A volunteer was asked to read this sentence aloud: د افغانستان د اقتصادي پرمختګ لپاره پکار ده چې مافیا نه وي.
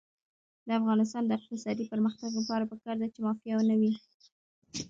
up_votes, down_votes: 1, 2